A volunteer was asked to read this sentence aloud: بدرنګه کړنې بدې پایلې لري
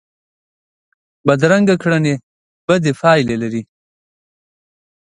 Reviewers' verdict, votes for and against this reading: accepted, 2, 0